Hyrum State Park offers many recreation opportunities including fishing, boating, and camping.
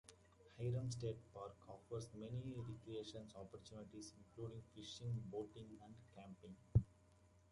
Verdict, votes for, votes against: accepted, 2, 0